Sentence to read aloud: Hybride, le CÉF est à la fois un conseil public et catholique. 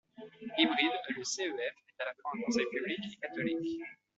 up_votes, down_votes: 1, 2